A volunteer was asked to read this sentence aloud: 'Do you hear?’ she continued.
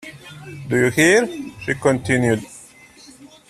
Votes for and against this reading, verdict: 0, 2, rejected